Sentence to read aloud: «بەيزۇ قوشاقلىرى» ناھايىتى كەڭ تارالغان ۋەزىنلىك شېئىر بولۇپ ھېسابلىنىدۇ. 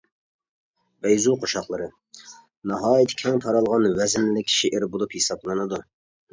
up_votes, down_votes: 2, 0